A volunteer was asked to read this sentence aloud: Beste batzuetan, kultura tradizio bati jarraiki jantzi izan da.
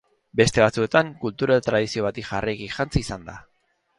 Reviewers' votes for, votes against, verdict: 2, 0, accepted